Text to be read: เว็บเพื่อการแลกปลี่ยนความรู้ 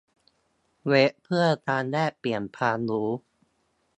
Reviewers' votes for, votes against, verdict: 0, 2, rejected